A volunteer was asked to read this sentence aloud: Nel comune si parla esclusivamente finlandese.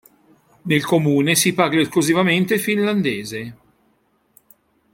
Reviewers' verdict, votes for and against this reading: rejected, 1, 2